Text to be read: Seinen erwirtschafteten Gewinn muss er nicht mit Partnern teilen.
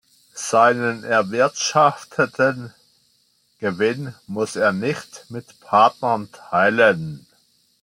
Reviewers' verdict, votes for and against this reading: accepted, 2, 0